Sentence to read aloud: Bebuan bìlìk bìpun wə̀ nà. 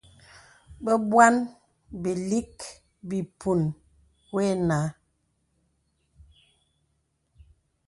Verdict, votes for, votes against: accepted, 2, 0